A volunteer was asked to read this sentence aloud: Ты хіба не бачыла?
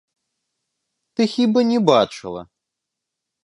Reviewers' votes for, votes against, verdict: 1, 2, rejected